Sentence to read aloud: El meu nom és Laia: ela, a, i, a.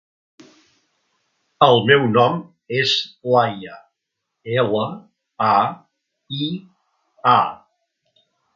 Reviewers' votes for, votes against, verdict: 3, 0, accepted